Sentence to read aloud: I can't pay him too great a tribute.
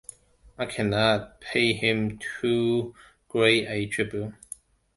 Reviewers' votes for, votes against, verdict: 0, 2, rejected